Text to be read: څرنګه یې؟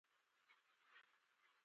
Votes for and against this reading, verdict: 1, 11, rejected